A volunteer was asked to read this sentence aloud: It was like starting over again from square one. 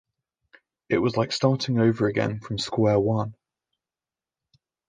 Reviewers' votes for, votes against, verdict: 2, 0, accepted